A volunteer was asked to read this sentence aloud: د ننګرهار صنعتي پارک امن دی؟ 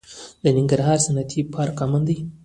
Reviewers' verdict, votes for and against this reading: accepted, 2, 1